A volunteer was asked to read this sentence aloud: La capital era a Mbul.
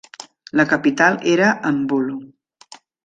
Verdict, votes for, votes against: rejected, 0, 2